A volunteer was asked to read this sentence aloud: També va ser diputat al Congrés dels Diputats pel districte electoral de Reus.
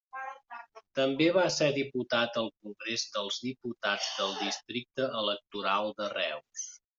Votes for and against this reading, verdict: 1, 2, rejected